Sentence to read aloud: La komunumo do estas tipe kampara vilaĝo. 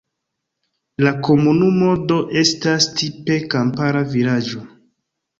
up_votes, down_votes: 1, 2